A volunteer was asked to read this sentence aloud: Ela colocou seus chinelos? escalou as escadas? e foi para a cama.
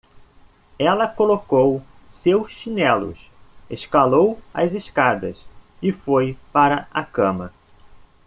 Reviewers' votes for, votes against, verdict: 1, 2, rejected